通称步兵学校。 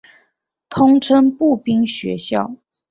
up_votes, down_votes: 4, 0